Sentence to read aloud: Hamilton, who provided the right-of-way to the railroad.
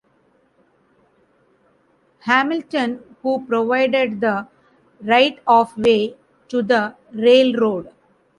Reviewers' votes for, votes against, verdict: 3, 0, accepted